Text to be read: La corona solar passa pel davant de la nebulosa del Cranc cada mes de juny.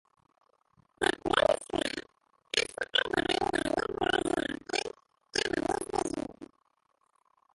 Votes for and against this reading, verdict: 0, 2, rejected